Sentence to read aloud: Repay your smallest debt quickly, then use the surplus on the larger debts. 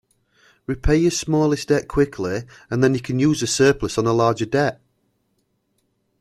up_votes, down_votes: 0, 2